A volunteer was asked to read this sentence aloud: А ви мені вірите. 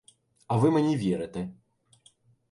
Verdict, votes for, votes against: accepted, 2, 0